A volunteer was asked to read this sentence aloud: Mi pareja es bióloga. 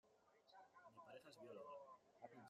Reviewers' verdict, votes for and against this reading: rejected, 0, 2